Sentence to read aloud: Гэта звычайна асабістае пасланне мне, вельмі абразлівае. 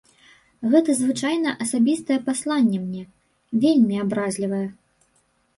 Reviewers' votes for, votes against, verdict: 2, 0, accepted